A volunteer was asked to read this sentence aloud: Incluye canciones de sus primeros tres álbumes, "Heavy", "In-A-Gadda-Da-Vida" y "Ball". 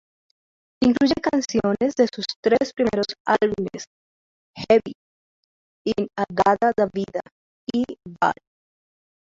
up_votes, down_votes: 0, 2